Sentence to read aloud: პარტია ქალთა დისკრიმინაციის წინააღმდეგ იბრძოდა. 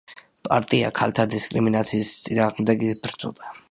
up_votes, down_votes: 0, 2